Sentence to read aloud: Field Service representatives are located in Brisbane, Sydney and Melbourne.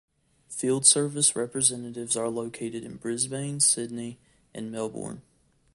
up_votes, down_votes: 2, 0